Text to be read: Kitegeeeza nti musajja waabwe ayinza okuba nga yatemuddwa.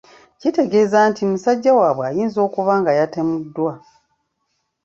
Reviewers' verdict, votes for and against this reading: accepted, 2, 0